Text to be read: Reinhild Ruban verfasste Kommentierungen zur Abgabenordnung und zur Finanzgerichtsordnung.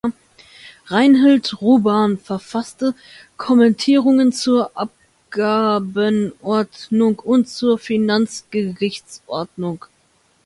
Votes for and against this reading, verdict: 2, 1, accepted